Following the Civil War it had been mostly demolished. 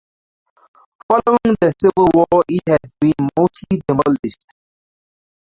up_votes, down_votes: 0, 4